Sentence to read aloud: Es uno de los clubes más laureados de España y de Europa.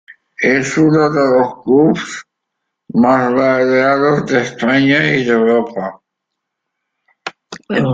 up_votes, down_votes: 1, 2